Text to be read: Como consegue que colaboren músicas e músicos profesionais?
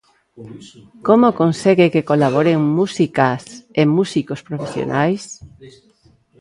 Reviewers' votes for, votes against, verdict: 2, 0, accepted